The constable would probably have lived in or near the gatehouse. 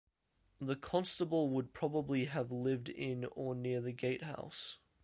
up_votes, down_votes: 2, 0